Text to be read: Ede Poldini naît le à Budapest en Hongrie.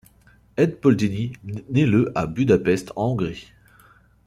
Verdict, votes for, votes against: accepted, 2, 0